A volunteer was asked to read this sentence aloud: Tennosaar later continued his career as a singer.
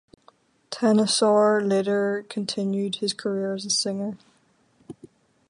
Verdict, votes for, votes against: accepted, 4, 0